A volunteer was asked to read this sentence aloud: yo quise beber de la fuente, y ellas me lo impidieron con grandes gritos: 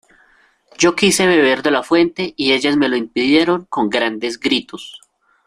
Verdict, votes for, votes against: accepted, 2, 0